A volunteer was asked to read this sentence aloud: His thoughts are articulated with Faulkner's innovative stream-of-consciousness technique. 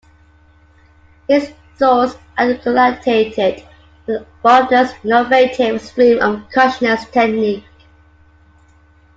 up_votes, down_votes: 0, 2